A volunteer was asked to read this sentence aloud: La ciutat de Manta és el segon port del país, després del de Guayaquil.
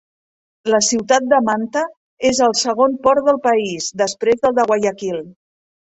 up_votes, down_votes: 2, 0